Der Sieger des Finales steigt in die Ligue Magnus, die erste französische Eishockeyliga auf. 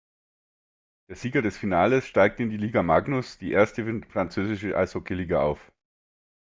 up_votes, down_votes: 0, 2